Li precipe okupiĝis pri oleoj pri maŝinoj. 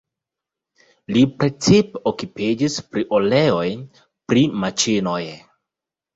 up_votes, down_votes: 0, 2